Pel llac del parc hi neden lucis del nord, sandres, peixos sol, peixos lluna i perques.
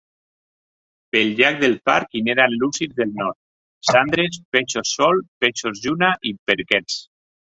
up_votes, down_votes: 1, 2